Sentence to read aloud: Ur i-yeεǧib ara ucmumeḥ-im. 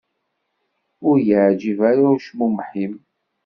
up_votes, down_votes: 2, 0